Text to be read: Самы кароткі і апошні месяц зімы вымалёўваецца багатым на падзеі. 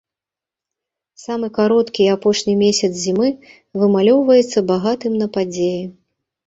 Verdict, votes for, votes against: accepted, 3, 0